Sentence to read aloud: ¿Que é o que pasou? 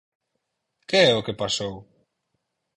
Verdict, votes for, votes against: accepted, 4, 0